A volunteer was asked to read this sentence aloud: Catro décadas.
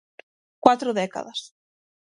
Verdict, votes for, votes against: rejected, 0, 6